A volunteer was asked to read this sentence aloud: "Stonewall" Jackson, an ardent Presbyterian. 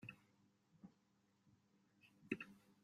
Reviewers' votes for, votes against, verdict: 0, 2, rejected